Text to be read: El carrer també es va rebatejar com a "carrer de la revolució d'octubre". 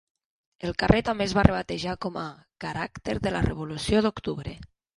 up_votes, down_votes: 1, 4